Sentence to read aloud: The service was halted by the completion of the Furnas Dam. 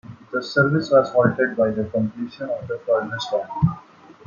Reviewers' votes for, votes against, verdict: 1, 2, rejected